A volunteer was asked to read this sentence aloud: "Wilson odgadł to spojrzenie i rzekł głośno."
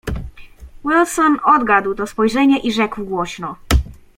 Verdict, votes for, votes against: accepted, 2, 0